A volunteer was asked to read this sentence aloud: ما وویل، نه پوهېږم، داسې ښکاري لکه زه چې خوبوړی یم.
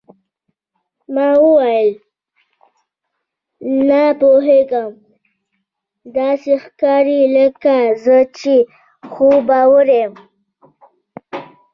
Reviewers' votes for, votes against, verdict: 1, 2, rejected